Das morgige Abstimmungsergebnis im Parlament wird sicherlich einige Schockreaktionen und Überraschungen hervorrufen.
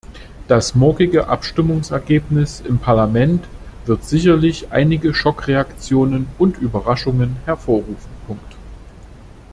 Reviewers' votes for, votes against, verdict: 2, 1, accepted